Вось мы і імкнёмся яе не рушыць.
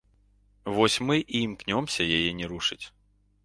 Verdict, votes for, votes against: accepted, 2, 0